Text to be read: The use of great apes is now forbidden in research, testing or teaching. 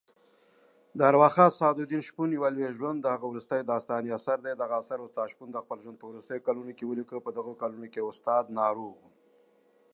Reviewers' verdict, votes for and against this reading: rejected, 0, 2